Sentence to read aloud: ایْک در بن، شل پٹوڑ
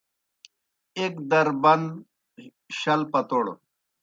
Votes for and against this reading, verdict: 2, 0, accepted